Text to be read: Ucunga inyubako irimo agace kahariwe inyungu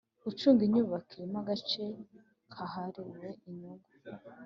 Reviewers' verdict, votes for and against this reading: accepted, 2, 0